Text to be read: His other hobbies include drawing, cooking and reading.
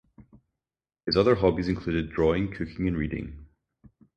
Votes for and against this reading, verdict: 4, 0, accepted